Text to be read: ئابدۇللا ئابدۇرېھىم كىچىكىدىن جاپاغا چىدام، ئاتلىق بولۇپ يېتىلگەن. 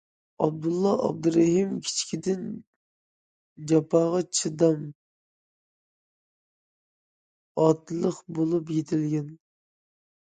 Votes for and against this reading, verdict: 2, 0, accepted